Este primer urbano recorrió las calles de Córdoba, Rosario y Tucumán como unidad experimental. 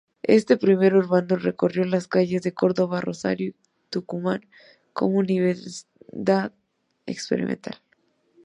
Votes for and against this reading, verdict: 0, 2, rejected